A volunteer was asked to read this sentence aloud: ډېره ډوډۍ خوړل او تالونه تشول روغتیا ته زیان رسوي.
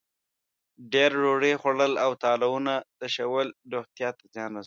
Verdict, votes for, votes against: rejected, 1, 2